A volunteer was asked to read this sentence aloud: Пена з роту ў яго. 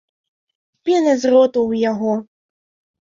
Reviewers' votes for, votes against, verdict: 2, 0, accepted